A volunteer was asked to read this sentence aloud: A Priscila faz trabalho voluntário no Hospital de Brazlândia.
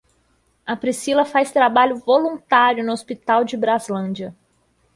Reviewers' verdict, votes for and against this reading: accepted, 2, 0